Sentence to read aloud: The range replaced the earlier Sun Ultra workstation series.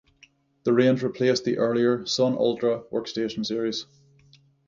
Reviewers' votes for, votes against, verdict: 0, 6, rejected